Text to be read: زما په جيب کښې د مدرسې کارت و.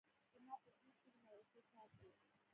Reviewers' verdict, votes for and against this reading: rejected, 0, 2